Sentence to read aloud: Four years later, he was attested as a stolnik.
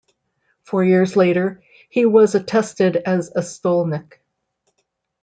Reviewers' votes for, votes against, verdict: 2, 0, accepted